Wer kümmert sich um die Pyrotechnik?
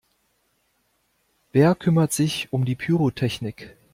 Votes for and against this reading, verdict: 2, 0, accepted